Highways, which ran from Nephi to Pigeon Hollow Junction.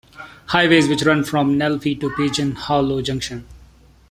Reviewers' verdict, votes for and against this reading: rejected, 1, 2